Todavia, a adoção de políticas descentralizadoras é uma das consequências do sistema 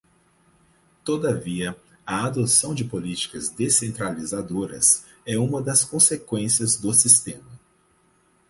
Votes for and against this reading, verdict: 4, 0, accepted